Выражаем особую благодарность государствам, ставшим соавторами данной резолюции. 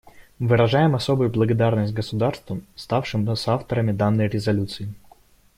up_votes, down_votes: 2, 0